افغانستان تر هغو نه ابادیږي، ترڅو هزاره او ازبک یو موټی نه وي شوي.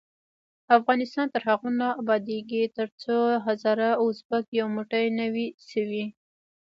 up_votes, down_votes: 1, 2